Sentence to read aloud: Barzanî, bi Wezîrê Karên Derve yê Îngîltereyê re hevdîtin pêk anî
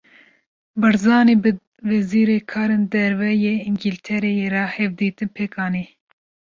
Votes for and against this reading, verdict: 2, 0, accepted